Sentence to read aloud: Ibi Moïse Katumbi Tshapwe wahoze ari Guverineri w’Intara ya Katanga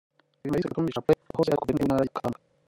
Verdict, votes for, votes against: rejected, 0, 2